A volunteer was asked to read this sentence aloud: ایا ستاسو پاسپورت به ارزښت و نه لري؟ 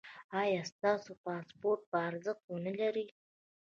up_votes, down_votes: 2, 0